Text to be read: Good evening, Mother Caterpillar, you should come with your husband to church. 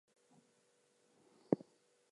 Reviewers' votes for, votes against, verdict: 0, 2, rejected